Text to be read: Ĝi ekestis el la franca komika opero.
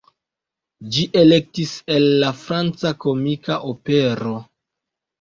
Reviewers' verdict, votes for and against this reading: rejected, 1, 2